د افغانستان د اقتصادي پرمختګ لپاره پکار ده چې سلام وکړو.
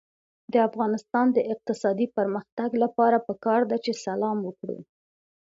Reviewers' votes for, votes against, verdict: 2, 0, accepted